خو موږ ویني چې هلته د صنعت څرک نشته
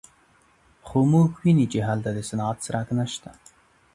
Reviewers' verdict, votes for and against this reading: accepted, 2, 0